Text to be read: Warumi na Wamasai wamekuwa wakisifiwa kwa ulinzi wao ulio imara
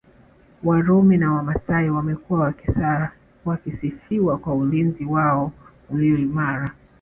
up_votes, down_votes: 2, 1